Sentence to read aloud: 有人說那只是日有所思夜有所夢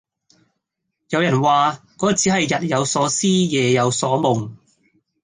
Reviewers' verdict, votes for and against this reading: rejected, 0, 2